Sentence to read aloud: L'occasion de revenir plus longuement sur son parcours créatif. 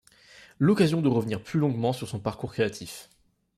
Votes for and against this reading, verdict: 2, 0, accepted